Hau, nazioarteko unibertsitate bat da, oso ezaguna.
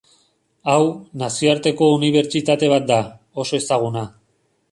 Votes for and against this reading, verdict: 2, 0, accepted